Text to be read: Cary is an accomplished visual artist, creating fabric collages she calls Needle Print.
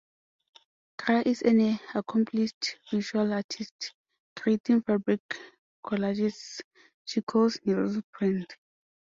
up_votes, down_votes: 0, 2